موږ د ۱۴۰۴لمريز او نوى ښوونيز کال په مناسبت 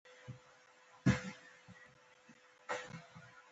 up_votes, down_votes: 0, 2